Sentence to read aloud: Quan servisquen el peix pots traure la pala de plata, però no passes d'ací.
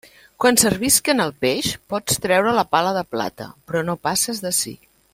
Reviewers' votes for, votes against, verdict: 2, 0, accepted